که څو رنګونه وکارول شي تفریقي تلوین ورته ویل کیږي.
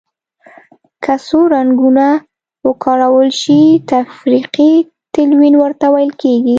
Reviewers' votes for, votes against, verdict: 2, 0, accepted